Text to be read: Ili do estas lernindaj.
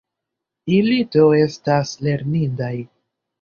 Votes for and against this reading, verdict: 1, 2, rejected